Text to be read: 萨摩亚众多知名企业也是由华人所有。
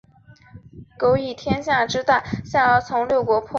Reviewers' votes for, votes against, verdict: 0, 2, rejected